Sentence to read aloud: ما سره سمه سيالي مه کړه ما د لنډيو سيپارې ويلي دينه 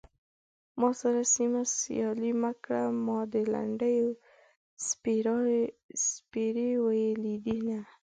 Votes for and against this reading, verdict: 0, 2, rejected